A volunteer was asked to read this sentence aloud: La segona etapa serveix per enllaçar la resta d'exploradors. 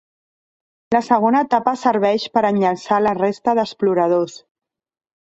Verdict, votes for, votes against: rejected, 1, 2